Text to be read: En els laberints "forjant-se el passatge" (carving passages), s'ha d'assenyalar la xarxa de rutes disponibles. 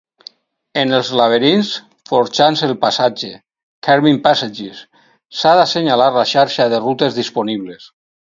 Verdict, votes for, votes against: accepted, 4, 0